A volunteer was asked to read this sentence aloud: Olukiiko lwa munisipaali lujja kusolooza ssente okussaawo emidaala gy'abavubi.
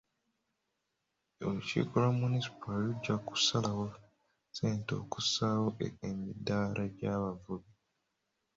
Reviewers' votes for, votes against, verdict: 0, 3, rejected